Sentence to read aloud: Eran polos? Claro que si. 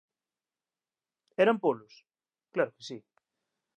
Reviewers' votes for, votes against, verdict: 2, 0, accepted